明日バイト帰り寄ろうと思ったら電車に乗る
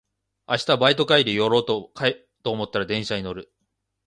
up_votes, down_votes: 1, 2